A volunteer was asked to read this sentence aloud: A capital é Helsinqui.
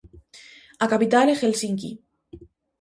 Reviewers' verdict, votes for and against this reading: accepted, 2, 0